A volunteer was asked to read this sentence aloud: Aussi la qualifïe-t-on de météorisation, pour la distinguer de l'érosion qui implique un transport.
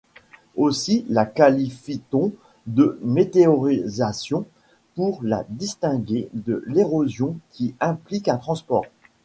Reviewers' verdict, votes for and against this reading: accepted, 2, 0